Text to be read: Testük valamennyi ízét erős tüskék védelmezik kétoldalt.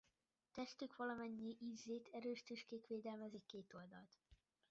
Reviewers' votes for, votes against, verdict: 0, 2, rejected